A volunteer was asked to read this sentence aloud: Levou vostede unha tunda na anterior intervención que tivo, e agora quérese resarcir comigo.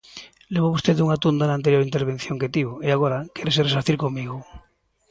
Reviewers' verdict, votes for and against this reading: accepted, 2, 0